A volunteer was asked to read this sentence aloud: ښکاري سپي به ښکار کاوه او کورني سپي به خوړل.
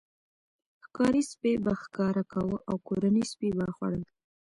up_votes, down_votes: 0, 2